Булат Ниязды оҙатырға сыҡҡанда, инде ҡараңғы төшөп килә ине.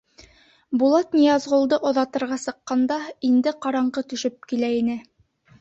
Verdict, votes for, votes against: rejected, 0, 2